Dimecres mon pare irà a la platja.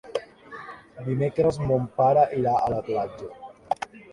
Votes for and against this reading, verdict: 3, 1, accepted